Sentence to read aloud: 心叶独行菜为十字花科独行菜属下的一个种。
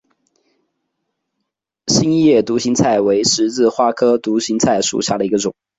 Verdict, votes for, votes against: accepted, 2, 0